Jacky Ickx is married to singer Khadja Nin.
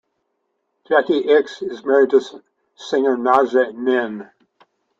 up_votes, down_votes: 1, 3